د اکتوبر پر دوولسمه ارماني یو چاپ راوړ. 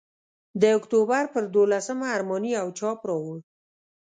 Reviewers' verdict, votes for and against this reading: accepted, 2, 0